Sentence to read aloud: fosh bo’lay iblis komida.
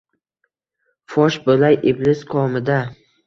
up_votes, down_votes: 2, 1